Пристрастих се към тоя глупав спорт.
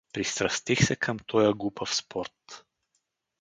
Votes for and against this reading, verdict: 4, 0, accepted